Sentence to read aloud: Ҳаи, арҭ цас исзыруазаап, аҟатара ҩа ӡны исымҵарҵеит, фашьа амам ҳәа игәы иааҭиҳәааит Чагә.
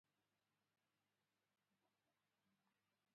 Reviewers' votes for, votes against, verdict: 0, 2, rejected